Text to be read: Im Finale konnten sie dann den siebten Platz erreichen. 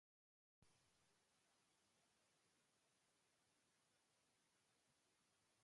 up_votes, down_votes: 0, 2